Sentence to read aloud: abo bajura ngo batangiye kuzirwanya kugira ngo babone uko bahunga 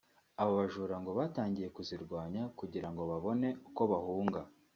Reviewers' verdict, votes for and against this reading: accepted, 2, 0